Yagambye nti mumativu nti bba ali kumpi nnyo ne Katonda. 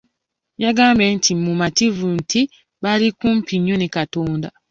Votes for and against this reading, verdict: 0, 2, rejected